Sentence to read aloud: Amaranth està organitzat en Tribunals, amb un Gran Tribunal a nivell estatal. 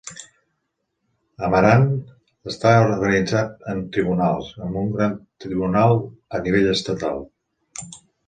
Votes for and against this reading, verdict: 2, 0, accepted